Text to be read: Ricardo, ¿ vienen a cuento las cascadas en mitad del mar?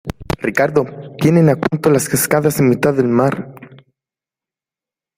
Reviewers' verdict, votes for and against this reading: rejected, 1, 2